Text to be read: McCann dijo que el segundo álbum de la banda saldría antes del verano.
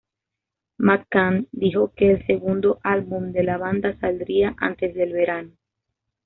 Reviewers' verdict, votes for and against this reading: accepted, 2, 0